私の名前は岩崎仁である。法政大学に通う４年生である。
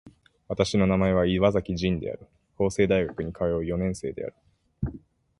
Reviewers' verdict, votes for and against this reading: rejected, 0, 2